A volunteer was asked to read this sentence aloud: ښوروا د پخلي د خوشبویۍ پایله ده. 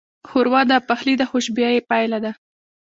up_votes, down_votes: 2, 0